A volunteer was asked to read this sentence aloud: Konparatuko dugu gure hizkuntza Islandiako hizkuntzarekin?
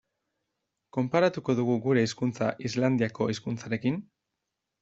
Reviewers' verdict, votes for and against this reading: accepted, 2, 0